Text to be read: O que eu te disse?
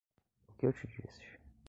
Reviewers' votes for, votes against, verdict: 0, 2, rejected